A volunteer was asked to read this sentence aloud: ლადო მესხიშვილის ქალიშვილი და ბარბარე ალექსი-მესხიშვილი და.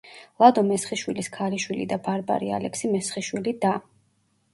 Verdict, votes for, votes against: rejected, 1, 2